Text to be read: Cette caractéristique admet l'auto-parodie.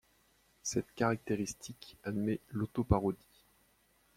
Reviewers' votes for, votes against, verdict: 2, 0, accepted